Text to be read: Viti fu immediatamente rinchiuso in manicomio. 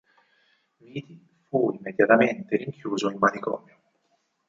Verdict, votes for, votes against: rejected, 2, 4